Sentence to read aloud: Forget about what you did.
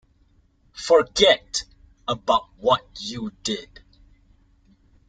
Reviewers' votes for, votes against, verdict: 2, 0, accepted